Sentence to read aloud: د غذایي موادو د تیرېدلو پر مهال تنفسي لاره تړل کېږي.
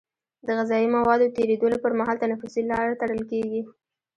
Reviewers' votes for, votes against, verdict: 0, 2, rejected